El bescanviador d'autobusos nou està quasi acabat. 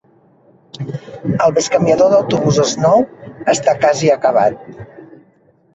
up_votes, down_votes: 2, 4